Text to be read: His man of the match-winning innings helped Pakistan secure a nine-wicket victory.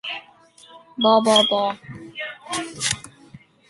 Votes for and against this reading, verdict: 0, 2, rejected